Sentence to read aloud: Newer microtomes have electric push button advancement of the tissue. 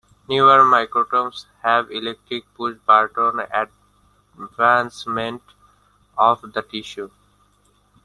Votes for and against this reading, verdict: 0, 2, rejected